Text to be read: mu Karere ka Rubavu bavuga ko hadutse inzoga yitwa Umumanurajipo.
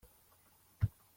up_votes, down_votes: 0, 2